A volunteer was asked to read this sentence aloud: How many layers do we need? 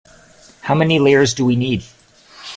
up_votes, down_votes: 2, 0